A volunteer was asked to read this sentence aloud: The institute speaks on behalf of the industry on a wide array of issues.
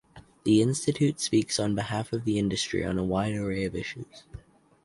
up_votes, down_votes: 4, 0